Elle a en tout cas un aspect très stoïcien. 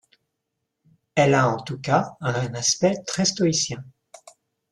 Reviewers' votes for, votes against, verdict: 0, 2, rejected